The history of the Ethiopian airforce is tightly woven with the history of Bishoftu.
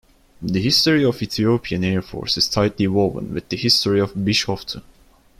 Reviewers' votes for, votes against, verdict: 2, 0, accepted